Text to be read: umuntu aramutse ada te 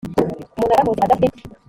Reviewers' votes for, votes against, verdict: 1, 2, rejected